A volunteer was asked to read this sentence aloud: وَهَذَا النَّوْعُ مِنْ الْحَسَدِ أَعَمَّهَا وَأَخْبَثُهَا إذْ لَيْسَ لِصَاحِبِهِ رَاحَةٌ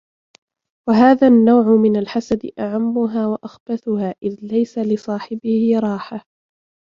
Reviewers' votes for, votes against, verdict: 2, 0, accepted